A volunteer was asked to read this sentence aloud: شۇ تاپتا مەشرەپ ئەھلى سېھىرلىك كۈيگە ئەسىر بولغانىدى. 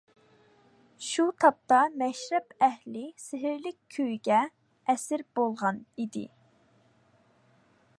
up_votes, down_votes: 0, 2